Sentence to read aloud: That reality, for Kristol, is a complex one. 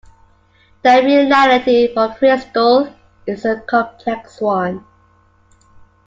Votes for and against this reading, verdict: 2, 1, accepted